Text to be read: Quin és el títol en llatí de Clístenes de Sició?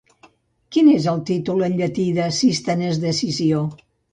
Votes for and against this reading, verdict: 1, 2, rejected